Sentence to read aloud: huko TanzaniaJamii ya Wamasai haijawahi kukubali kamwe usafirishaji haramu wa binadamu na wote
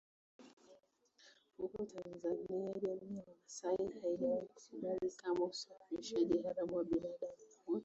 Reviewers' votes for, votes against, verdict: 1, 2, rejected